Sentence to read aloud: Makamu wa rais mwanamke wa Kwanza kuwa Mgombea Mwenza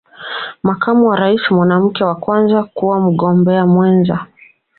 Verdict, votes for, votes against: accepted, 2, 0